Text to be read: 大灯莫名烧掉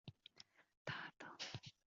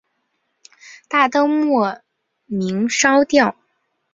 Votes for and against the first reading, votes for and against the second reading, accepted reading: 1, 3, 2, 0, second